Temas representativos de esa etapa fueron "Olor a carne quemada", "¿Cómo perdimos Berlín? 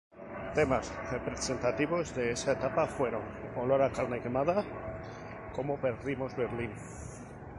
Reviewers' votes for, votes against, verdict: 2, 0, accepted